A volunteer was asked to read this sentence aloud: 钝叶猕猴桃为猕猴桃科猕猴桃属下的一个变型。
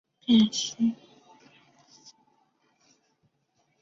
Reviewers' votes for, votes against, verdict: 0, 2, rejected